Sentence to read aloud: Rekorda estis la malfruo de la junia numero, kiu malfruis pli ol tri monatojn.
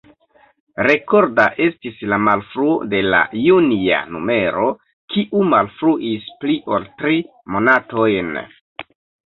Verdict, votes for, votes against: rejected, 1, 2